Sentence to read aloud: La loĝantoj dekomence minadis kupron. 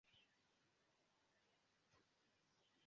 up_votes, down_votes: 0, 2